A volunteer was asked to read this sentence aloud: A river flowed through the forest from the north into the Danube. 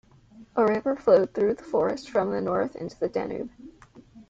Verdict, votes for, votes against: rejected, 1, 2